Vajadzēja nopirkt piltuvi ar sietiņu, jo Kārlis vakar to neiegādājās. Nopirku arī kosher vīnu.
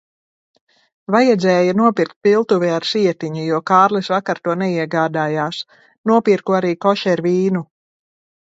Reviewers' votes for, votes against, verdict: 1, 2, rejected